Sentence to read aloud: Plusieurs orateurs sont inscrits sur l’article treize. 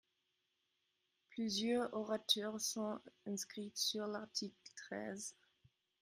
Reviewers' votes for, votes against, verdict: 0, 2, rejected